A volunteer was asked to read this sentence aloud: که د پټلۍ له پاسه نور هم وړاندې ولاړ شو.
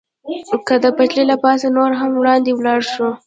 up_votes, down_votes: 1, 2